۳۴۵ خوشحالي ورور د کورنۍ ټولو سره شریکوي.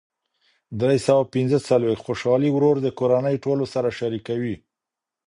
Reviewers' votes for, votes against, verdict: 0, 2, rejected